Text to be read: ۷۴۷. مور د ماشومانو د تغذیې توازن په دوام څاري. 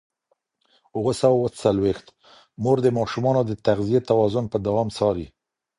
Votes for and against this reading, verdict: 0, 2, rejected